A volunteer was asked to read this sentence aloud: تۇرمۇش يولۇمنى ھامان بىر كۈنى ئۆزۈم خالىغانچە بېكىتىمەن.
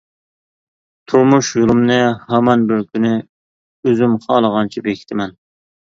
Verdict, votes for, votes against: accepted, 2, 0